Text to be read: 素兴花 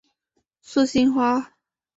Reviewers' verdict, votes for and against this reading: accepted, 2, 0